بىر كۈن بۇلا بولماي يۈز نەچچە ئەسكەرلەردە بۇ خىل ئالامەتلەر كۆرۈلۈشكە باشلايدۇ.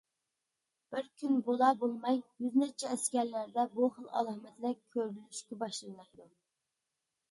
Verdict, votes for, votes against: rejected, 1, 2